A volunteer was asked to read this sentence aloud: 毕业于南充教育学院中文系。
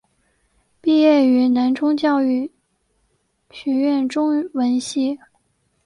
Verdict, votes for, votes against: accepted, 5, 0